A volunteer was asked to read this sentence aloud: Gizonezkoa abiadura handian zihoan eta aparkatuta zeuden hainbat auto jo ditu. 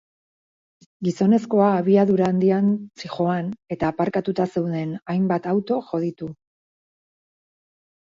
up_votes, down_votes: 2, 0